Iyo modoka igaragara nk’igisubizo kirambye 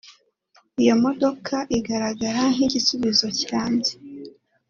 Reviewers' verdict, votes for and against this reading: accepted, 2, 0